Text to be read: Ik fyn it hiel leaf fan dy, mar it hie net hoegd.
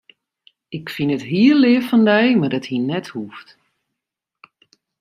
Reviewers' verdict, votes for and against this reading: accepted, 2, 0